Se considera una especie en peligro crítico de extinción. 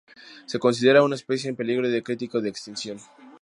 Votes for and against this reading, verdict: 0, 2, rejected